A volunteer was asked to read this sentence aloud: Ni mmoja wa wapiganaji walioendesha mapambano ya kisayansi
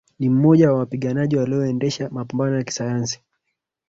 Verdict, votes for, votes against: rejected, 2, 3